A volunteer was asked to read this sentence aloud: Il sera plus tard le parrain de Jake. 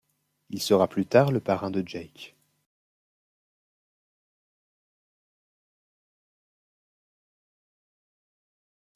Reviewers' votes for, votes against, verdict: 2, 0, accepted